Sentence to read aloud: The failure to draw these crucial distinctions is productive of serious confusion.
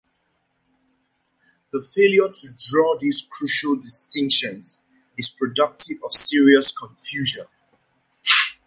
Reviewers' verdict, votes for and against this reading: accepted, 2, 0